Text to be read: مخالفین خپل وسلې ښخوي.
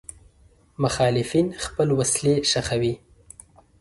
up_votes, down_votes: 1, 2